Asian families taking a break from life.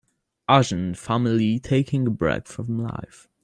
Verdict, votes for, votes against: rejected, 0, 3